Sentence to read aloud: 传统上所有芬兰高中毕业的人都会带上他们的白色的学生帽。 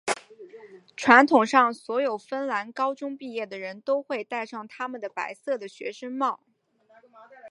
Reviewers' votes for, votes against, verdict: 3, 1, accepted